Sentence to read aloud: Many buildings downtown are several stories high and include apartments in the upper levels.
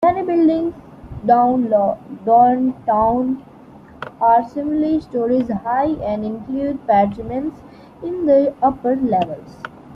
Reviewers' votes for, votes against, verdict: 0, 2, rejected